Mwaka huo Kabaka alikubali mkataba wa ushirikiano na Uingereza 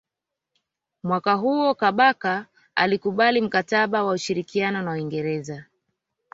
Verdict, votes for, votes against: accepted, 2, 1